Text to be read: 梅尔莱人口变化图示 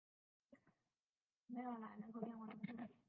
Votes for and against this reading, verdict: 0, 2, rejected